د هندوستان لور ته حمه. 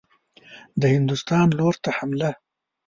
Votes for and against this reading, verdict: 1, 2, rejected